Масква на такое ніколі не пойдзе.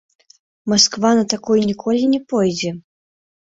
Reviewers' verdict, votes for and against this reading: rejected, 0, 2